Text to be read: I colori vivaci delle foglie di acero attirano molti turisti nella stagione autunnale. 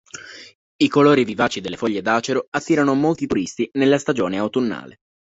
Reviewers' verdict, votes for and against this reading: accepted, 2, 0